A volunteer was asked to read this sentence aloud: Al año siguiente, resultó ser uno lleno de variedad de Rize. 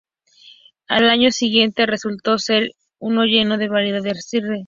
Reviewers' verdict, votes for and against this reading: rejected, 0, 2